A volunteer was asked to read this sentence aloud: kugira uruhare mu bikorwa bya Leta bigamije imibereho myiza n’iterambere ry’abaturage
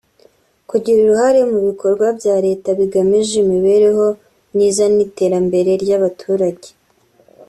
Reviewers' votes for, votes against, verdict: 3, 0, accepted